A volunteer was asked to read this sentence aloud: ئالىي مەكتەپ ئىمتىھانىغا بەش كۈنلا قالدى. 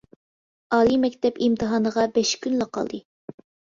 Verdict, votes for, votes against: accepted, 2, 0